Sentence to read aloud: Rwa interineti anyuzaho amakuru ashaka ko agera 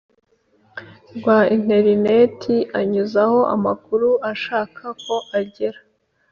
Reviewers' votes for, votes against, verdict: 2, 0, accepted